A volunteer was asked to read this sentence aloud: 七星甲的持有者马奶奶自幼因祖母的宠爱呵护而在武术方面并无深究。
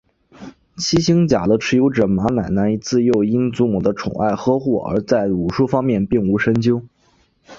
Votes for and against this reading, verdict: 2, 1, accepted